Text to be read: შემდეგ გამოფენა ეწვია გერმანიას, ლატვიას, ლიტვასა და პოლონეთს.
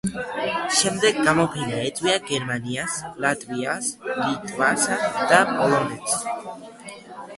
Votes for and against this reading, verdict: 1, 2, rejected